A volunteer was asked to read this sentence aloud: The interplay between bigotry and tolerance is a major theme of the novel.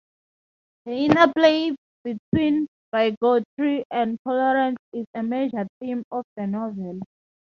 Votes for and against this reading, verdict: 3, 0, accepted